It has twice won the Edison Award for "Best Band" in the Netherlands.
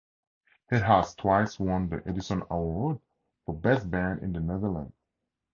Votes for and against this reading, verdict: 2, 0, accepted